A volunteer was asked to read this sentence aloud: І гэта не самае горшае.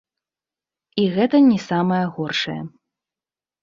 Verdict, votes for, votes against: accepted, 2, 0